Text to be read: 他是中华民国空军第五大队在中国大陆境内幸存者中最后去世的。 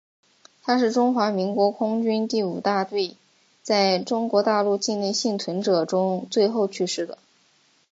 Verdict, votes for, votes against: accepted, 5, 0